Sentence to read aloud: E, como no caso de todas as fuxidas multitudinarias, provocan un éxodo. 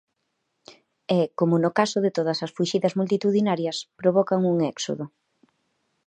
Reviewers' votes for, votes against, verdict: 2, 0, accepted